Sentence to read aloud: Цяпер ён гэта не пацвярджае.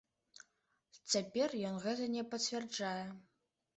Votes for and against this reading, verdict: 2, 0, accepted